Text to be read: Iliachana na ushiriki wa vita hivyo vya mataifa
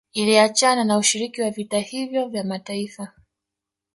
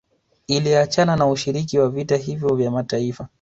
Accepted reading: second